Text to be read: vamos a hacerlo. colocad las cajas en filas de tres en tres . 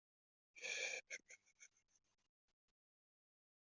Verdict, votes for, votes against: rejected, 0, 2